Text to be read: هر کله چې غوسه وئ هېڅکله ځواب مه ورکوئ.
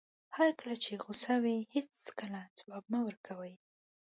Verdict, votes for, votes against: accepted, 2, 0